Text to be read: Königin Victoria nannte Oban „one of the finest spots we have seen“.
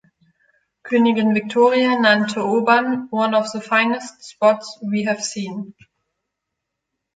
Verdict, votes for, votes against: accepted, 2, 0